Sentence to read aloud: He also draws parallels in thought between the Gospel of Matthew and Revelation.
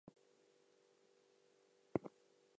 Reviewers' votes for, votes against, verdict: 0, 4, rejected